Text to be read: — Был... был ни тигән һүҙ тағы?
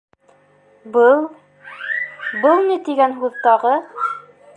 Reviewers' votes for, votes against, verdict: 0, 2, rejected